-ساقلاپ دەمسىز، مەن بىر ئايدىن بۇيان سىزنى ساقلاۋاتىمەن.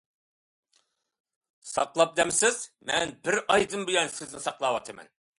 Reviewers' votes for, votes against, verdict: 2, 0, accepted